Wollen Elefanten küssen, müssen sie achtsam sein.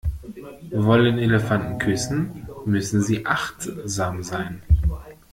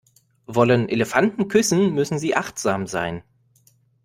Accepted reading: second